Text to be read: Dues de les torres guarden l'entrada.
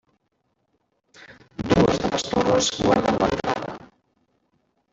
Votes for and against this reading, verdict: 1, 2, rejected